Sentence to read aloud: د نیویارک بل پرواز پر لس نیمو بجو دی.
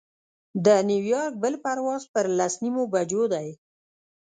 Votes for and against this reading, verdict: 1, 2, rejected